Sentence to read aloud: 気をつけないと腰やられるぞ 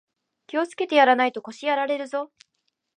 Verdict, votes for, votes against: rejected, 1, 2